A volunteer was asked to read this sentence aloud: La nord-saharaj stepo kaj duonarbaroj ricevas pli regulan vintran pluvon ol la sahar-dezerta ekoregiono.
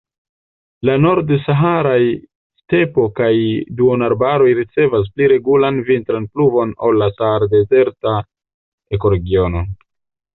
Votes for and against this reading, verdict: 0, 2, rejected